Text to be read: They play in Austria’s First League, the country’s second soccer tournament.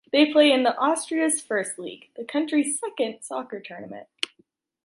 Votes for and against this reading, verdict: 2, 1, accepted